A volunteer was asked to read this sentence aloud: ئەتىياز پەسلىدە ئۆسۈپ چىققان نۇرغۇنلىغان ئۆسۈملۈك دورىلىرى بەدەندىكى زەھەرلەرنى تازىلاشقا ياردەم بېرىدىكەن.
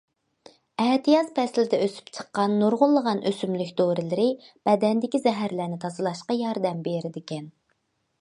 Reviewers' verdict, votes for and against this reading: accepted, 2, 0